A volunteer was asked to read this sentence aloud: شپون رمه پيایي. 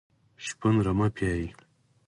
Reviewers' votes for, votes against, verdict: 4, 0, accepted